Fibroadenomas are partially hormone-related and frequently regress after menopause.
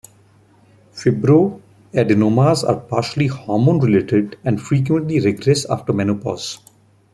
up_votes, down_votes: 1, 2